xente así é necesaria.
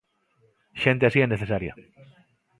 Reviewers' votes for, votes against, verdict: 2, 0, accepted